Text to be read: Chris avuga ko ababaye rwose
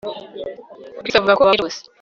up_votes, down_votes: 1, 2